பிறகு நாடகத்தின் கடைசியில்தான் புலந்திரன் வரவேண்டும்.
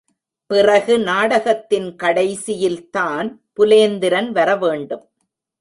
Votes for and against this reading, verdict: 0, 2, rejected